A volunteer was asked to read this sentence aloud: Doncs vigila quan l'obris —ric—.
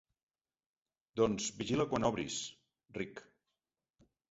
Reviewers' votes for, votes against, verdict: 2, 1, accepted